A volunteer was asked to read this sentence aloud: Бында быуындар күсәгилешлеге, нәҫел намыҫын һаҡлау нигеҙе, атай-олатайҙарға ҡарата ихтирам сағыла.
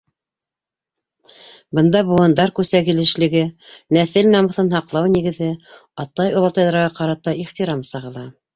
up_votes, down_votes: 2, 0